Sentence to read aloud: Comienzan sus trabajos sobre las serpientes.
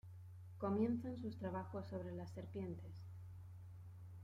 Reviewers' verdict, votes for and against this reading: rejected, 1, 2